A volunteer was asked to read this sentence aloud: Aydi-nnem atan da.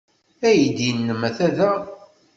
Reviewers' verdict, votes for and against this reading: rejected, 1, 2